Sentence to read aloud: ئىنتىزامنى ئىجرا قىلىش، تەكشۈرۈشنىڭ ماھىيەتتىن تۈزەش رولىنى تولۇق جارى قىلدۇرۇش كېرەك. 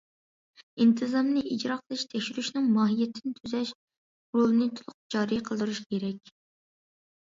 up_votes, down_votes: 2, 0